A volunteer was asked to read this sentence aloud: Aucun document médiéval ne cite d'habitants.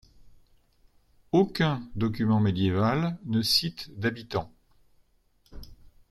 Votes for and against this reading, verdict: 2, 0, accepted